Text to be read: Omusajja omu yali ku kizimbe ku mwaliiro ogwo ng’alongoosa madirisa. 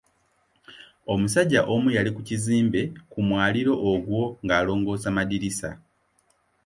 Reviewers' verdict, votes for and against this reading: accepted, 2, 0